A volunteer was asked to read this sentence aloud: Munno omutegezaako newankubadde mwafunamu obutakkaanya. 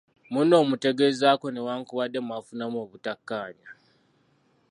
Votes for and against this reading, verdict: 2, 0, accepted